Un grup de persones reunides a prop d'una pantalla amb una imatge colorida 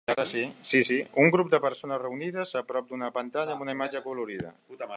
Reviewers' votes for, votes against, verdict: 1, 2, rejected